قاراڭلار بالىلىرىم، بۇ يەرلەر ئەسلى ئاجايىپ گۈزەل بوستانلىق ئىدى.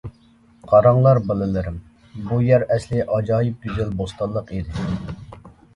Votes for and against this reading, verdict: 0, 2, rejected